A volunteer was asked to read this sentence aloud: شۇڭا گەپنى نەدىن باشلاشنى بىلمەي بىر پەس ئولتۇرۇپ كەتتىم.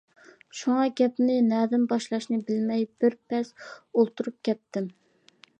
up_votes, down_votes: 2, 0